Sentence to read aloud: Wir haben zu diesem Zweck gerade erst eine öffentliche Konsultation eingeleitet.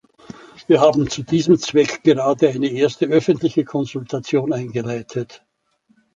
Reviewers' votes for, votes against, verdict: 0, 2, rejected